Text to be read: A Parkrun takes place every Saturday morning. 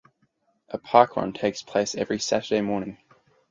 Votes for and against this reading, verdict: 4, 0, accepted